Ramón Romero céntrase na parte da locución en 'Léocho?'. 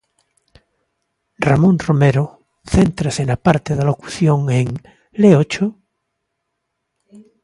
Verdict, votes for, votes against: accepted, 2, 0